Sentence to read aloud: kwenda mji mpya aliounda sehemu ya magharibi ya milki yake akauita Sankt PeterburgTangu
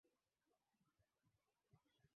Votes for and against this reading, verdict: 1, 12, rejected